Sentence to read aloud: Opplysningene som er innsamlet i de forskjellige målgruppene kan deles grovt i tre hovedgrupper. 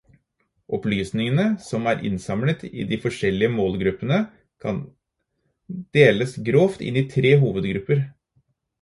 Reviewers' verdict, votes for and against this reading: rejected, 0, 4